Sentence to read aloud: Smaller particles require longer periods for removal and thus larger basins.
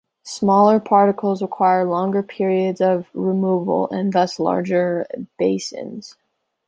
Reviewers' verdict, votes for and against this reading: rejected, 0, 2